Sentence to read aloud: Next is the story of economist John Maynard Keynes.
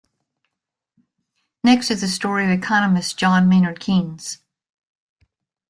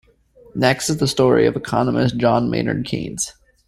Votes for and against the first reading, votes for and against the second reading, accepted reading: 0, 2, 2, 0, second